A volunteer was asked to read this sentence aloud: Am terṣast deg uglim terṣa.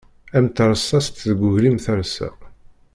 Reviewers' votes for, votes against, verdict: 1, 2, rejected